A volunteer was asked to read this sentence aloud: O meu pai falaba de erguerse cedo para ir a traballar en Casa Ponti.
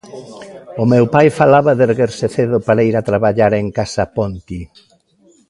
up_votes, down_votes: 2, 0